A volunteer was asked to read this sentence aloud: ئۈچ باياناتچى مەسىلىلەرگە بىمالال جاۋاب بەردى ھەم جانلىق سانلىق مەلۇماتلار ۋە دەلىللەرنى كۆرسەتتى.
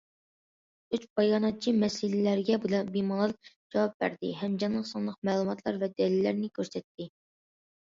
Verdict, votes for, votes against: rejected, 0, 2